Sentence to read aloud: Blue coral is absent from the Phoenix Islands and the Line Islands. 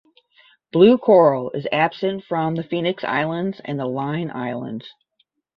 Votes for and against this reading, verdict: 10, 0, accepted